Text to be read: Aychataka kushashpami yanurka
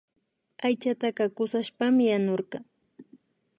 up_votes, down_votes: 2, 0